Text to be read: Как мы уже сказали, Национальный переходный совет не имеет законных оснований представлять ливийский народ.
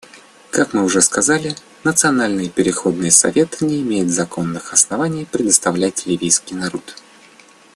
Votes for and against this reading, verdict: 0, 2, rejected